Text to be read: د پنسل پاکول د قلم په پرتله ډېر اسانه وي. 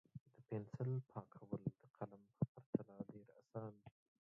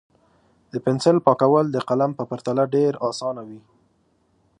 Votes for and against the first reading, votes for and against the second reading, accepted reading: 0, 3, 2, 0, second